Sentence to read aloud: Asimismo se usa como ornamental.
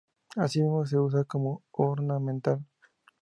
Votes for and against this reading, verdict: 2, 0, accepted